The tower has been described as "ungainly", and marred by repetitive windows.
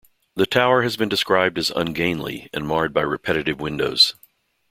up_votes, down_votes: 2, 0